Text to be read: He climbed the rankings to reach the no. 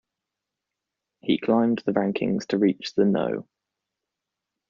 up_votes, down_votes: 0, 2